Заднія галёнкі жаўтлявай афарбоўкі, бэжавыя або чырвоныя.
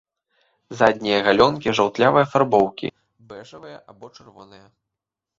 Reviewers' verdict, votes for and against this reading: rejected, 1, 2